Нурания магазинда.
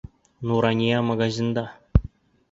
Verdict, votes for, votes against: accepted, 2, 0